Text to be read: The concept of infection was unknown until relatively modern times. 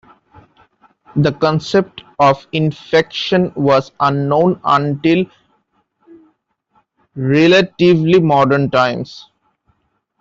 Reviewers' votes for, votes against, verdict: 2, 0, accepted